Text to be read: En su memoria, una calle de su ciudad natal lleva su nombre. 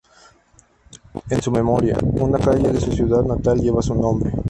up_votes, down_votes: 0, 2